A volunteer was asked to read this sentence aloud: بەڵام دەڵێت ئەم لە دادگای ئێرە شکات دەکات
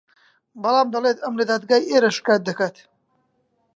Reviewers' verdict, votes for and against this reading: accepted, 2, 0